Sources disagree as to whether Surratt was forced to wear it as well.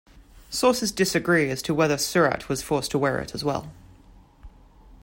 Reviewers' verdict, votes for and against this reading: accepted, 2, 0